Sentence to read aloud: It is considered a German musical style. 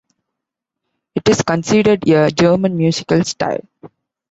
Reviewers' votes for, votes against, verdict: 2, 0, accepted